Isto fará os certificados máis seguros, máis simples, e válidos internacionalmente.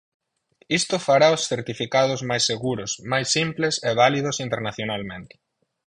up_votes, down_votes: 4, 0